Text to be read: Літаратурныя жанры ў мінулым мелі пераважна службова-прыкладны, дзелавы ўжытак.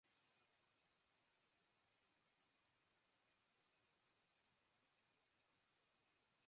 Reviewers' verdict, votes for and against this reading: rejected, 0, 2